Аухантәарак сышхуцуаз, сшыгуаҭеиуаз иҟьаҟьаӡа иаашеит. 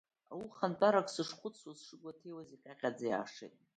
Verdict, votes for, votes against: accepted, 2, 1